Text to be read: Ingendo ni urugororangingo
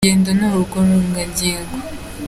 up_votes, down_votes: 0, 2